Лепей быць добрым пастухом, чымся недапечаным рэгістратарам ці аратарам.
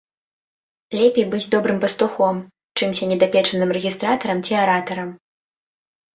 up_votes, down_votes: 2, 0